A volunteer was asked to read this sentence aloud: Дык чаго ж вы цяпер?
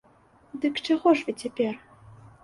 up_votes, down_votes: 2, 0